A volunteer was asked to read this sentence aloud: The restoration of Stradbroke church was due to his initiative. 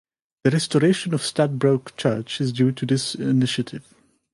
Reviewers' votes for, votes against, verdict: 0, 2, rejected